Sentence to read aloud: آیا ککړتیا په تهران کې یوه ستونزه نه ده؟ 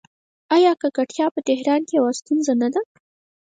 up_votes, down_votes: 0, 4